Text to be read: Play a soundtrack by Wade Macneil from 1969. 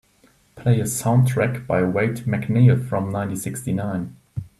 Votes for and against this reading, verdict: 0, 2, rejected